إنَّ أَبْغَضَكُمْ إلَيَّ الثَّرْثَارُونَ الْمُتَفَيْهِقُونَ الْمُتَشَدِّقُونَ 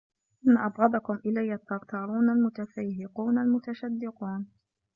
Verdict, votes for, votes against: accepted, 2, 0